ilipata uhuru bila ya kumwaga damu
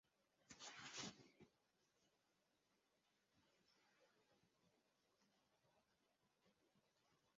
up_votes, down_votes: 0, 2